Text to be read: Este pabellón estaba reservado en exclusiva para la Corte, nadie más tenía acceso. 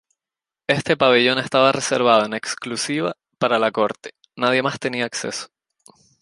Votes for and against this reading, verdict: 2, 0, accepted